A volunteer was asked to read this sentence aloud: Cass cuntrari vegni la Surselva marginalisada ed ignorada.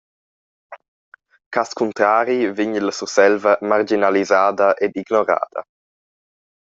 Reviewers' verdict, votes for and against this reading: rejected, 1, 2